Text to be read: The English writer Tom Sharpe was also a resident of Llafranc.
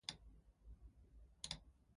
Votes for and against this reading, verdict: 0, 4, rejected